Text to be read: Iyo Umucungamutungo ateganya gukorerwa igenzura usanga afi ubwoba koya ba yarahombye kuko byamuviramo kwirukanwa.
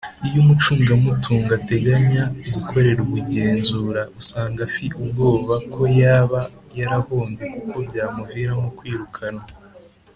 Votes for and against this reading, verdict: 2, 0, accepted